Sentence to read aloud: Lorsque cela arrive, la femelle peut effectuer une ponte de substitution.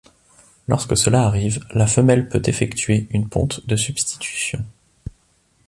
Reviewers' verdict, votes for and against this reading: accepted, 2, 0